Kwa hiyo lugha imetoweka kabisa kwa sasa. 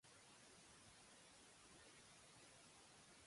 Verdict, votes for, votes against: rejected, 0, 2